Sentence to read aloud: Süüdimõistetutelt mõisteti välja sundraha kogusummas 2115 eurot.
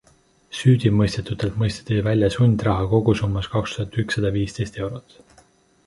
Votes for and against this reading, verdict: 0, 2, rejected